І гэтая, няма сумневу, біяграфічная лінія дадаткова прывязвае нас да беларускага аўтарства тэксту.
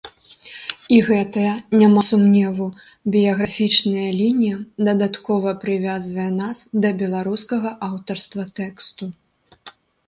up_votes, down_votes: 2, 0